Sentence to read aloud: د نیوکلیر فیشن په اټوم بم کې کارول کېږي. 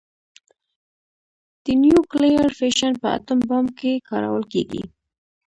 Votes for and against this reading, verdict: 1, 2, rejected